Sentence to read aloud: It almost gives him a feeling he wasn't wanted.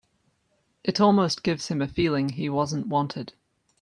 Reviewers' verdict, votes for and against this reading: accepted, 2, 0